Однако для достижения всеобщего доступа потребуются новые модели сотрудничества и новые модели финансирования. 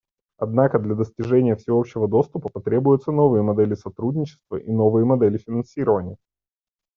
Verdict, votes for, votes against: accepted, 2, 1